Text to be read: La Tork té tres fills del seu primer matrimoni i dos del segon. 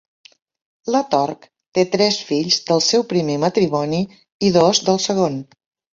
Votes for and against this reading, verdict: 3, 0, accepted